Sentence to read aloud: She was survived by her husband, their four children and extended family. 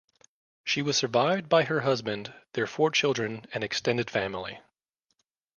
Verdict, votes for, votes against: accepted, 2, 1